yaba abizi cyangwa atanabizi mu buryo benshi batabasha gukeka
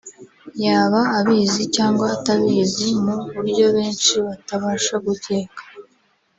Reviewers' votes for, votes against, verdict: 1, 2, rejected